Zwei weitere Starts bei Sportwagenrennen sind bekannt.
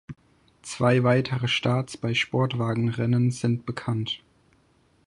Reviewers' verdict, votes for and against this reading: accepted, 4, 0